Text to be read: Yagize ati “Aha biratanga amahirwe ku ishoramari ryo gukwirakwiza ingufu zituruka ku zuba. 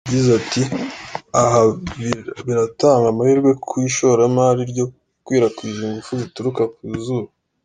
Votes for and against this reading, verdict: 2, 0, accepted